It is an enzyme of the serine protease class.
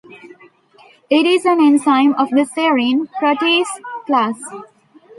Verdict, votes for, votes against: accepted, 2, 0